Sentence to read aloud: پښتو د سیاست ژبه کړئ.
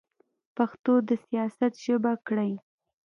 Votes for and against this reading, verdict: 2, 1, accepted